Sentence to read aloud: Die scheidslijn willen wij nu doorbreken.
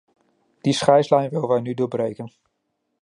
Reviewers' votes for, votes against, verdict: 1, 2, rejected